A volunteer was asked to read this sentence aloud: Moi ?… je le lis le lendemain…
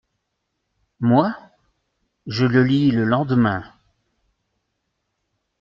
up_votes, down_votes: 2, 0